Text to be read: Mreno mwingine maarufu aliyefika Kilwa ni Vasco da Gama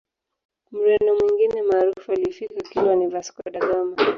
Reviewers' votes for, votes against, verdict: 1, 3, rejected